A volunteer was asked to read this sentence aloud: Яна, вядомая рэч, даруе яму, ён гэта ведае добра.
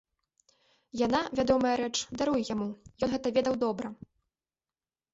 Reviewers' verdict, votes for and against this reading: rejected, 0, 2